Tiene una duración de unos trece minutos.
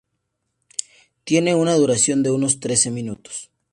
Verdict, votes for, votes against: accepted, 2, 0